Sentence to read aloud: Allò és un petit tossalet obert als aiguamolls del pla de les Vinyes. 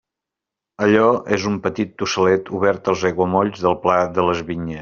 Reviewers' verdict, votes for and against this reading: rejected, 0, 2